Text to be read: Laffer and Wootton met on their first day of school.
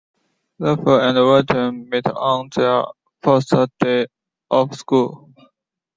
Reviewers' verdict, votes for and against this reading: rejected, 0, 2